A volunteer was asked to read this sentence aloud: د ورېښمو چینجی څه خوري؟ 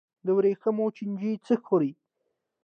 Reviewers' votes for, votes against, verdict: 2, 0, accepted